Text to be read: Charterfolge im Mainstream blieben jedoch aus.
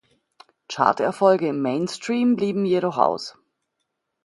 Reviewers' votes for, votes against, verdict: 2, 0, accepted